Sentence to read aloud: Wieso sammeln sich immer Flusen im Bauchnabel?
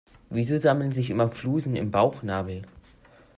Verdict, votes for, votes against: accepted, 2, 0